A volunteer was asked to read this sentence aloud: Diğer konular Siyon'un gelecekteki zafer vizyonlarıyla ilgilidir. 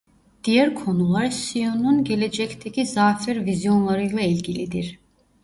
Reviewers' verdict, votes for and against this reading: rejected, 0, 2